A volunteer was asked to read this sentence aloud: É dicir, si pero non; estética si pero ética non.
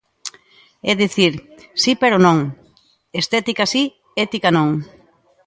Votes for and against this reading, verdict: 0, 2, rejected